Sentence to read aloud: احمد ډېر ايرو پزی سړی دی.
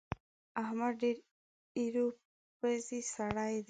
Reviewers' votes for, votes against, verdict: 1, 2, rejected